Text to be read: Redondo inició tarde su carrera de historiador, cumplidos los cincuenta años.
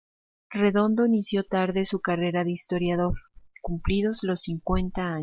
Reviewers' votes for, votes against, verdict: 1, 2, rejected